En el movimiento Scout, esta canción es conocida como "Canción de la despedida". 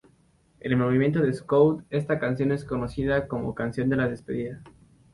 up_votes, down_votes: 0, 2